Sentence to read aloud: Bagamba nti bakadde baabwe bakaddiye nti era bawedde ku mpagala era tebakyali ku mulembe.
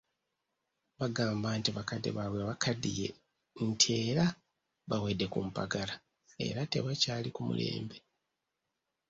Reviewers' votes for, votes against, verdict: 2, 0, accepted